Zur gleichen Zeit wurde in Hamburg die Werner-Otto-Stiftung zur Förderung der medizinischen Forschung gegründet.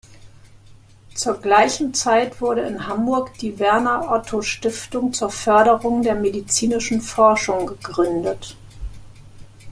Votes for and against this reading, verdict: 2, 0, accepted